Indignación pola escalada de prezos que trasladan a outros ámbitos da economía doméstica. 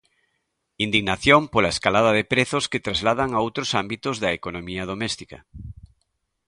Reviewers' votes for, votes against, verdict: 2, 0, accepted